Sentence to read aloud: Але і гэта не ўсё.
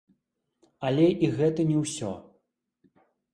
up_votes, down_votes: 1, 2